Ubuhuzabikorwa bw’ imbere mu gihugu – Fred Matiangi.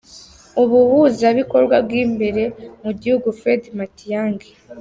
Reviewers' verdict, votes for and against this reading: accepted, 2, 0